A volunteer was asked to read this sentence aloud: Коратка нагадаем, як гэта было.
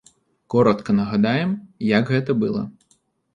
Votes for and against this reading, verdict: 1, 2, rejected